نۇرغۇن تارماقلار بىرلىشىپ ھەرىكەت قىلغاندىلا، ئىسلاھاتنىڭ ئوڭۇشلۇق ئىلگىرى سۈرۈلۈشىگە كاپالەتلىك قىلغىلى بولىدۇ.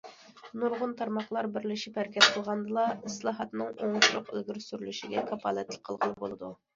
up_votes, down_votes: 2, 0